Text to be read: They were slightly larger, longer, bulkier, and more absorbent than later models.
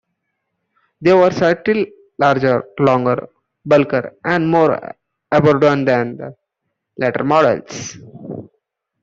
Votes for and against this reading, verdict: 0, 2, rejected